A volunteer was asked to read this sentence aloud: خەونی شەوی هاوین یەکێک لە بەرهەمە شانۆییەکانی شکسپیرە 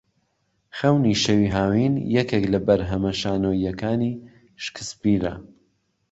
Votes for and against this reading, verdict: 3, 0, accepted